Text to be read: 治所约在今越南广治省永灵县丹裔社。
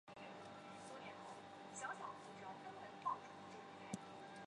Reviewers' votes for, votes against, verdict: 0, 3, rejected